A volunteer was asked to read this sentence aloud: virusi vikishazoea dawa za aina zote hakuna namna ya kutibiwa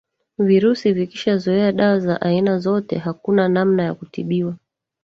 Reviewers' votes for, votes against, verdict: 0, 2, rejected